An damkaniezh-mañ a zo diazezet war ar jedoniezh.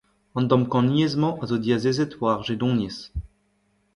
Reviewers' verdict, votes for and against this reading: rejected, 1, 2